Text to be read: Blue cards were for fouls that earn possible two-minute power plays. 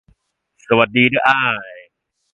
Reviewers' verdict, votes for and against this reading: rejected, 0, 2